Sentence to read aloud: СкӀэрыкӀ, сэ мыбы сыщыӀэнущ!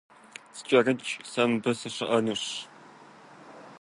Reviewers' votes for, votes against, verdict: 2, 0, accepted